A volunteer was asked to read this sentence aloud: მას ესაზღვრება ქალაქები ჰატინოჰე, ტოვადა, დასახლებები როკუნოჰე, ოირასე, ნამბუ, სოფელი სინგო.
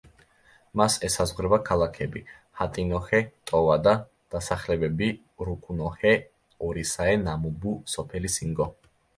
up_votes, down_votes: 0, 2